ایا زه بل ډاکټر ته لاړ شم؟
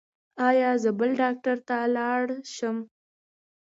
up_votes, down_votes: 2, 0